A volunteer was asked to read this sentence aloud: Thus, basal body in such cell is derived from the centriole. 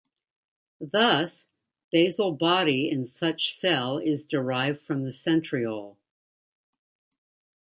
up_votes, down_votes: 2, 0